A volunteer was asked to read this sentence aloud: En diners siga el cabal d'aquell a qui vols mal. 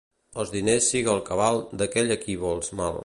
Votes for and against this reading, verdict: 0, 2, rejected